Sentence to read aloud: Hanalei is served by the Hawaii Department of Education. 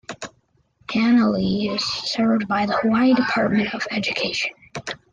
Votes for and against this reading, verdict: 2, 0, accepted